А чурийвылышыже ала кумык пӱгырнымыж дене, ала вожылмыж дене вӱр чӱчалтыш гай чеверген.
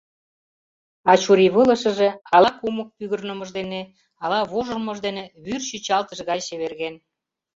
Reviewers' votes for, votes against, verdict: 2, 0, accepted